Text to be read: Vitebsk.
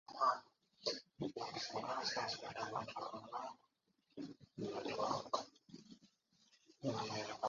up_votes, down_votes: 0, 2